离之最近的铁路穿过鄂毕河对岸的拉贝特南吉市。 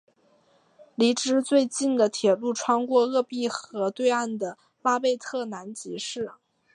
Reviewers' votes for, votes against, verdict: 4, 0, accepted